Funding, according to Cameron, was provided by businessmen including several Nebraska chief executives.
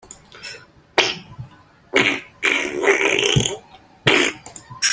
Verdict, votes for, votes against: rejected, 0, 2